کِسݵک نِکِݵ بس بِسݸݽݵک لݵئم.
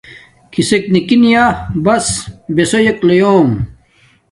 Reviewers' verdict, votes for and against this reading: rejected, 1, 2